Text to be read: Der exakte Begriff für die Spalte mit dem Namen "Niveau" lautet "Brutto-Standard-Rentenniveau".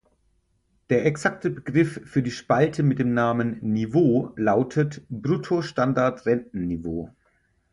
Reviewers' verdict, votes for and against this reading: rejected, 4, 6